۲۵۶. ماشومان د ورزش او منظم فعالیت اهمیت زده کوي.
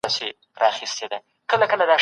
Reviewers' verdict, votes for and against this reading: rejected, 0, 2